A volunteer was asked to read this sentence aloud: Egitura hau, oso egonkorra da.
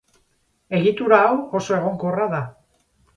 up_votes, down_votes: 6, 0